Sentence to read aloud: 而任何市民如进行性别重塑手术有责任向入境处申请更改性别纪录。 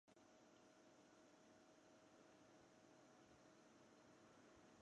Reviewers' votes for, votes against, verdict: 3, 1, accepted